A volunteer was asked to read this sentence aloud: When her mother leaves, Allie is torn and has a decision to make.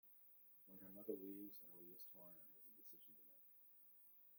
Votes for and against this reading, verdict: 0, 2, rejected